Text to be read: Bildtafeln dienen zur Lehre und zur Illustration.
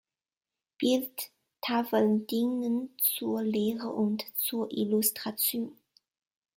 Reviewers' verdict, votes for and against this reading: rejected, 1, 2